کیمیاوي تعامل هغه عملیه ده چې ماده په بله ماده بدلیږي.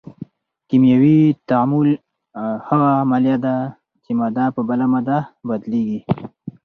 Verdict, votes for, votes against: accepted, 4, 0